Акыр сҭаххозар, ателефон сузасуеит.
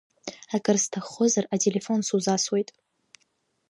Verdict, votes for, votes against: accepted, 2, 1